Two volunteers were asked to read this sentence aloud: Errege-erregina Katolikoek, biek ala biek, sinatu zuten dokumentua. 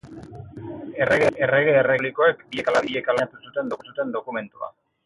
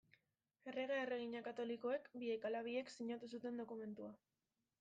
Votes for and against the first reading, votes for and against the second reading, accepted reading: 0, 4, 2, 0, second